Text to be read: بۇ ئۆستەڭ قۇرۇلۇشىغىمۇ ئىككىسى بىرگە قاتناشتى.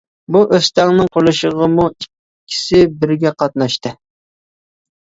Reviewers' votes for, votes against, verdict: 2, 1, accepted